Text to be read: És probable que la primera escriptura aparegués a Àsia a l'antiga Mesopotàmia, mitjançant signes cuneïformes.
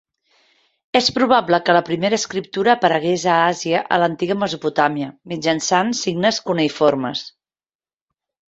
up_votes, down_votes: 3, 0